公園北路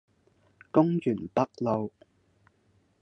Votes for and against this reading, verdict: 1, 2, rejected